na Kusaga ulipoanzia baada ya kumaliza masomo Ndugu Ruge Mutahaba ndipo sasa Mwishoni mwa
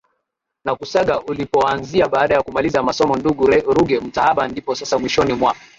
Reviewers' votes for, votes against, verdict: 9, 3, accepted